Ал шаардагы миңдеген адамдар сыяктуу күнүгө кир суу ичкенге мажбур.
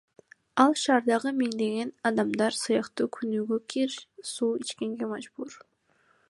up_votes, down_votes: 2, 0